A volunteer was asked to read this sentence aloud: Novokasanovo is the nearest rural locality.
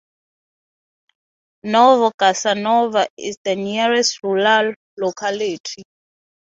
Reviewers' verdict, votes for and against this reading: rejected, 3, 3